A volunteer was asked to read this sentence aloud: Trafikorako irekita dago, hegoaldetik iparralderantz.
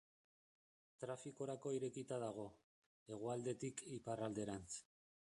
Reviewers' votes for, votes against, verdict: 0, 2, rejected